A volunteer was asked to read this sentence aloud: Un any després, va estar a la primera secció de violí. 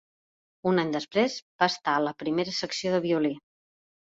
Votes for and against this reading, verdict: 5, 0, accepted